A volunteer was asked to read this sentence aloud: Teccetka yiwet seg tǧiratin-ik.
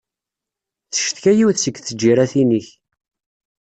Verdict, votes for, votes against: accepted, 2, 0